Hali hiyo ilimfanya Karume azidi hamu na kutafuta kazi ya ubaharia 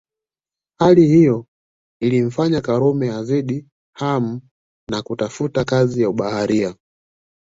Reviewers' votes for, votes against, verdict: 2, 0, accepted